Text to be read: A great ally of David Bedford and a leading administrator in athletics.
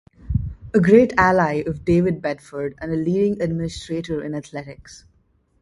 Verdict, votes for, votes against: accepted, 2, 0